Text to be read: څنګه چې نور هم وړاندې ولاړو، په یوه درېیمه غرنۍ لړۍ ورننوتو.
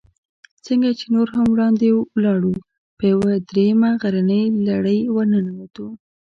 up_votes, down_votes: 1, 2